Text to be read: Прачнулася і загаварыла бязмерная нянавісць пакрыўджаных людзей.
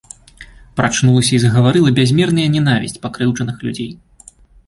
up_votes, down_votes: 2, 0